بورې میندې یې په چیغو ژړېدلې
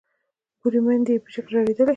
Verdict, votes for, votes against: accepted, 2, 0